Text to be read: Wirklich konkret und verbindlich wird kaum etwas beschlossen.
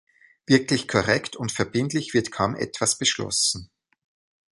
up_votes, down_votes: 0, 2